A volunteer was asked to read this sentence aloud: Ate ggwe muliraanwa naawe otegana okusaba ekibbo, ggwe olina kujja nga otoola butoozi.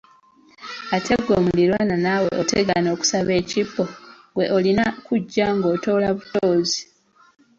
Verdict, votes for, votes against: accepted, 2, 0